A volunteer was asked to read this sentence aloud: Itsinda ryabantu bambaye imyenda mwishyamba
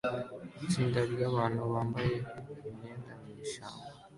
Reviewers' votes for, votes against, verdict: 2, 1, accepted